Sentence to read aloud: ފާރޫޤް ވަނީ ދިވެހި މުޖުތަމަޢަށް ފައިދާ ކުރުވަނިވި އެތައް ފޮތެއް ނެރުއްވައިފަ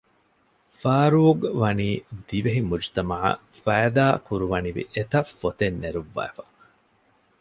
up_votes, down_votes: 2, 0